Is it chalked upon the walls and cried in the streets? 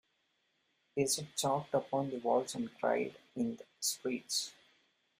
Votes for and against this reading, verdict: 3, 2, accepted